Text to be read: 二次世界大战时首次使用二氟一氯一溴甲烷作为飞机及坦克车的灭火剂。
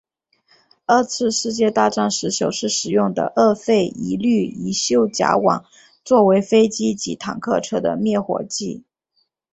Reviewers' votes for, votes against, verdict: 5, 1, accepted